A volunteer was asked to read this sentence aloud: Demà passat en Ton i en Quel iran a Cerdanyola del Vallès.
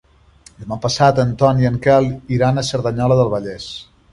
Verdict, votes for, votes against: rejected, 0, 2